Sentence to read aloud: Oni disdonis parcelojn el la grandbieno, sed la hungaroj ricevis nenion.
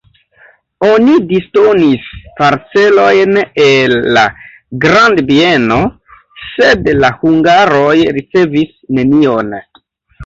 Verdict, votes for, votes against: accepted, 2, 0